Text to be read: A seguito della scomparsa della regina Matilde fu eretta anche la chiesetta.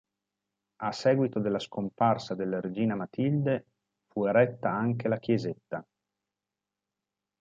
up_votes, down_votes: 5, 0